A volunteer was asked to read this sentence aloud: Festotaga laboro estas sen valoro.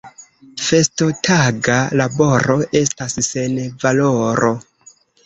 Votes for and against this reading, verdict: 0, 2, rejected